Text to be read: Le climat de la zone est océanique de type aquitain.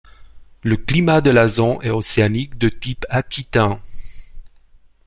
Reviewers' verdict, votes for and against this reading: accepted, 2, 0